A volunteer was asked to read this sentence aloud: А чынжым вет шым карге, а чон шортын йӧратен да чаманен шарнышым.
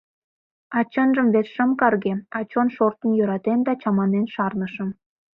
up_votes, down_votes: 2, 0